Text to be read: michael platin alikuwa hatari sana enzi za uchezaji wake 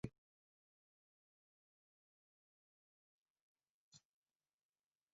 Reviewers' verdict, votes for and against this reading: rejected, 0, 2